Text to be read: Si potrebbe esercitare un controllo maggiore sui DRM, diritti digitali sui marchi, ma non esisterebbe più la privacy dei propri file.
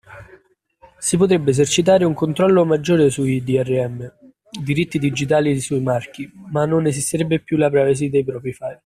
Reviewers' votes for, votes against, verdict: 0, 2, rejected